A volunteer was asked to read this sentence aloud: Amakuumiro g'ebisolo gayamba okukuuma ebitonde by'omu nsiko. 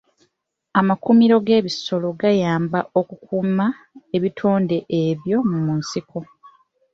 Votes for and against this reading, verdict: 0, 2, rejected